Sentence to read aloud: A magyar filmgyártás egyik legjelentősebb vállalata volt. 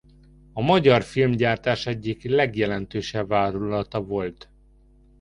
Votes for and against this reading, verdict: 2, 0, accepted